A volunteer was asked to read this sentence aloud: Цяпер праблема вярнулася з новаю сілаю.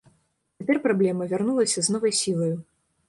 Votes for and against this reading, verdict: 1, 2, rejected